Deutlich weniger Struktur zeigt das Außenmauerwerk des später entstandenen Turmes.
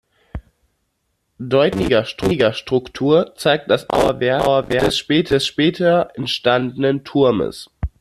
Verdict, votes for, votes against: rejected, 0, 2